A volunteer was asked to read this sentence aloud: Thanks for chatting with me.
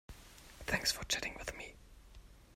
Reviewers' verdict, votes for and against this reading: rejected, 1, 2